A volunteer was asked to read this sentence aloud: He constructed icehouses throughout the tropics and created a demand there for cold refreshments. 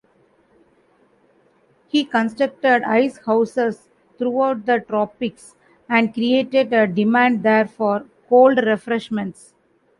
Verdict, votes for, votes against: accepted, 2, 0